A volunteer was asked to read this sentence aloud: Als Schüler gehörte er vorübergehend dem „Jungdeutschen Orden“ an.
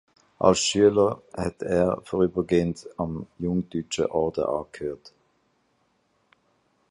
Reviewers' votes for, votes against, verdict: 0, 2, rejected